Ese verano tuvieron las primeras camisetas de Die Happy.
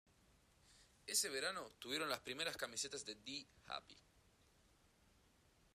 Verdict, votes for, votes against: accepted, 2, 0